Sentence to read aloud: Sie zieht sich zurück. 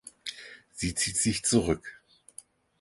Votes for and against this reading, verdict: 4, 0, accepted